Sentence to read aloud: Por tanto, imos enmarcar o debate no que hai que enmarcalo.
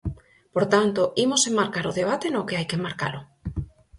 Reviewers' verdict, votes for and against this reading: accepted, 4, 0